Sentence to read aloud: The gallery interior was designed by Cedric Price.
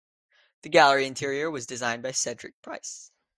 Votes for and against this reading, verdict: 3, 0, accepted